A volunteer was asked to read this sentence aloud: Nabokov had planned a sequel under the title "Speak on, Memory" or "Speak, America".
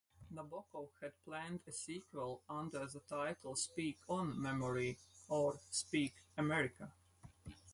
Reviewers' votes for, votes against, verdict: 4, 0, accepted